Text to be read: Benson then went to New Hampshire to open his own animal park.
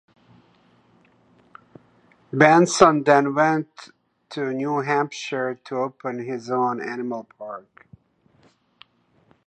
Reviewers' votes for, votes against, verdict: 1, 2, rejected